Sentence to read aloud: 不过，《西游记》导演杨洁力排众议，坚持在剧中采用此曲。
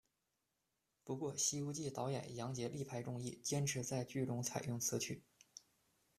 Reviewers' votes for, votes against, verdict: 2, 0, accepted